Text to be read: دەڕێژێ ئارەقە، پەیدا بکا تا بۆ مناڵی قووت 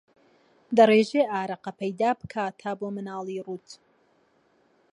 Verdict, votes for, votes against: rejected, 0, 2